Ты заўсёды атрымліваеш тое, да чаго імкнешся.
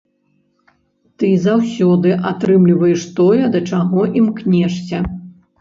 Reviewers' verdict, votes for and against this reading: rejected, 0, 2